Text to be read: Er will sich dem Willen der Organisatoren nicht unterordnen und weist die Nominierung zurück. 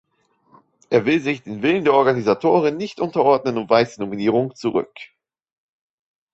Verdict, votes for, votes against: rejected, 1, 3